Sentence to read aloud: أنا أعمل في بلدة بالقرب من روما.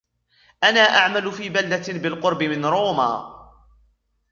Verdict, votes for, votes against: rejected, 1, 2